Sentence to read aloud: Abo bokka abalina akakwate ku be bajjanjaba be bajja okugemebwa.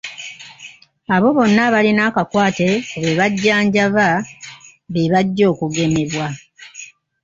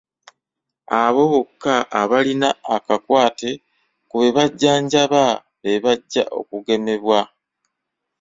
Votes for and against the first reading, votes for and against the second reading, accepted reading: 0, 2, 2, 0, second